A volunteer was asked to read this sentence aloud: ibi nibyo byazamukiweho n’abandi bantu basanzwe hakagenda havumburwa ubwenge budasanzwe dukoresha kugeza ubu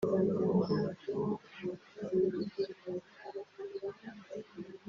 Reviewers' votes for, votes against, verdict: 0, 2, rejected